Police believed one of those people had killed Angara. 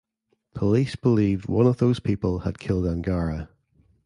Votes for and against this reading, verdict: 2, 0, accepted